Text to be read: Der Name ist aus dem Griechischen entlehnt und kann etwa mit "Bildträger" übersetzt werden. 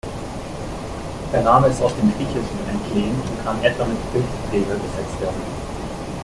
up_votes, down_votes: 2, 0